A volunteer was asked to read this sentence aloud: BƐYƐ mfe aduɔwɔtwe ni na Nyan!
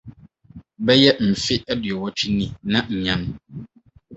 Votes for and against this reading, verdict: 2, 2, rejected